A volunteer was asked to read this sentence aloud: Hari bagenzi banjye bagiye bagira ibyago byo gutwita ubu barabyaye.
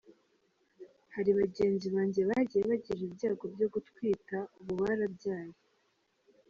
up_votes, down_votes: 2, 0